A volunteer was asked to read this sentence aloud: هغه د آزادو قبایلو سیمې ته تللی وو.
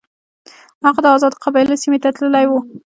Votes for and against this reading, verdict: 0, 2, rejected